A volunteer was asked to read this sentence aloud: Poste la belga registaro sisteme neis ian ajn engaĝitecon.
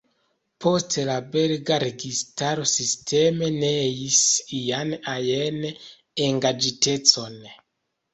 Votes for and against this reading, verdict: 2, 3, rejected